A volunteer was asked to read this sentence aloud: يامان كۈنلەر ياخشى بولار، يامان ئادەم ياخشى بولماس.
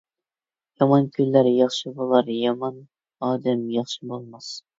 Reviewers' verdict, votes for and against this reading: accepted, 2, 0